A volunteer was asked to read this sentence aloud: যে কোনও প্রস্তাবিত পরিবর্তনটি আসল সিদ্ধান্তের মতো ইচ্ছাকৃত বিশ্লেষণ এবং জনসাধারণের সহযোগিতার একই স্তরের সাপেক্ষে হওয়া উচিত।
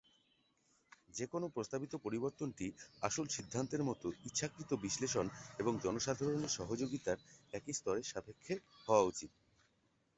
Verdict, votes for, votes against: rejected, 0, 2